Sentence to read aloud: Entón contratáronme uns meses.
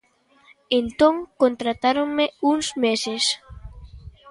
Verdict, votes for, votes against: accepted, 2, 0